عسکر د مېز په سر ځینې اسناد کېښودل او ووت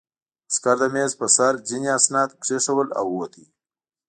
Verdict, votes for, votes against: accepted, 2, 0